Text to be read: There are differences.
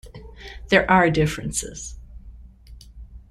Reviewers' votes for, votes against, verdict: 2, 0, accepted